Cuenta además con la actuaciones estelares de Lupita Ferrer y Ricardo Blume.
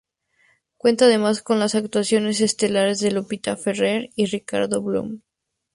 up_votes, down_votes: 0, 2